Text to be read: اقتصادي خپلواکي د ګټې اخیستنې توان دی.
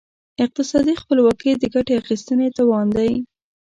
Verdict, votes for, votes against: accepted, 2, 0